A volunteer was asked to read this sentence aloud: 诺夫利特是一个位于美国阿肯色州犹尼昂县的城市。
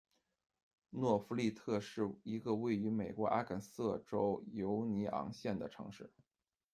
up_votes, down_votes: 2, 0